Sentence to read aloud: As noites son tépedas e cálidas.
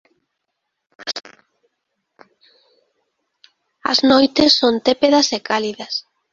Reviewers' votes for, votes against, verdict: 2, 0, accepted